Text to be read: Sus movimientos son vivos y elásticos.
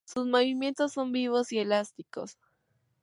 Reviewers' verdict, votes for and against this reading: accepted, 4, 0